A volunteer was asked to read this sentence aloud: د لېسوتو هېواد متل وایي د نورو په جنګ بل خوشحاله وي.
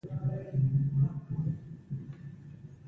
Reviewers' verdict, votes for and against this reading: rejected, 1, 2